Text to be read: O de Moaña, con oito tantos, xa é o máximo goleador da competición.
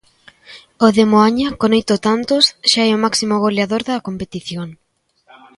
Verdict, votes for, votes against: accepted, 2, 1